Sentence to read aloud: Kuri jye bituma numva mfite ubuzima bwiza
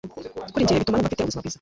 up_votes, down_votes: 0, 2